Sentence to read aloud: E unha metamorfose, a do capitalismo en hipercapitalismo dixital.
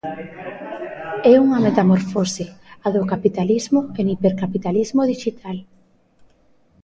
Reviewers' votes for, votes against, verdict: 1, 2, rejected